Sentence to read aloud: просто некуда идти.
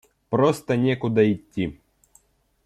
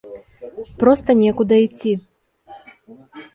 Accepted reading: first